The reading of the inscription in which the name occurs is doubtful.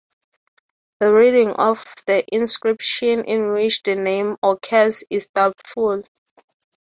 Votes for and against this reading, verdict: 0, 3, rejected